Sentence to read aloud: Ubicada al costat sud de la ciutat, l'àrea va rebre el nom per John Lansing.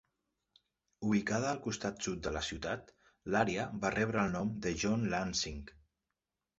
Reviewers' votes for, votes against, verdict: 1, 2, rejected